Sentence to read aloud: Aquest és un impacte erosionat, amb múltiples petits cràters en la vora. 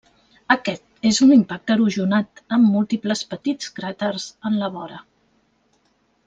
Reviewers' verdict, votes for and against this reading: rejected, 1, 2